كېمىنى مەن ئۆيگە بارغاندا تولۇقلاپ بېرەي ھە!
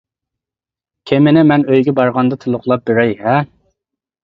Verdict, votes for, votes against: accepted, 2, 0